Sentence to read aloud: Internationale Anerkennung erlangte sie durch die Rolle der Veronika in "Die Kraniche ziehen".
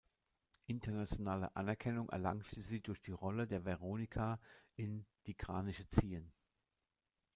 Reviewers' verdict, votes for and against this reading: rejected, 1, 2